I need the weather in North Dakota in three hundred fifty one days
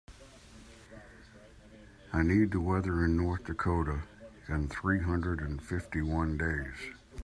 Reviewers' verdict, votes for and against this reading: rejected, 1, 2